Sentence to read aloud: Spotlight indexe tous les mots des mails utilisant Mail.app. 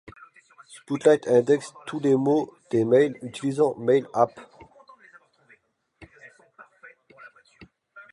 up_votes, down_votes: 2, 1